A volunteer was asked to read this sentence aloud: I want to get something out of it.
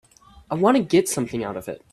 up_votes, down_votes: 0, 2